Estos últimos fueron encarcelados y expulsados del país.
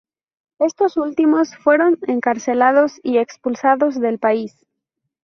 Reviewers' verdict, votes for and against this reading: accepted, 2, 0